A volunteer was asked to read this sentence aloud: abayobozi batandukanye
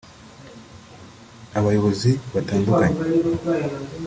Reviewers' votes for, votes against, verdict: 1, 2, rejected